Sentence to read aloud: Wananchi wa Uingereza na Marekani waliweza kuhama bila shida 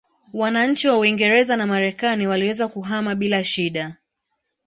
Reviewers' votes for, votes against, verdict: 2, 0, accepted